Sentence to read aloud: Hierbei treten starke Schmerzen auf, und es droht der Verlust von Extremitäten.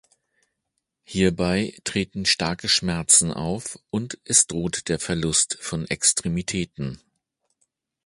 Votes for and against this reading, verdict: 2, 0, accepted